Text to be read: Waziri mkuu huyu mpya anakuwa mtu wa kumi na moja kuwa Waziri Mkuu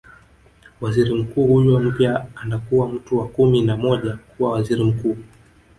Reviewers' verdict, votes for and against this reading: rejected, 1, 2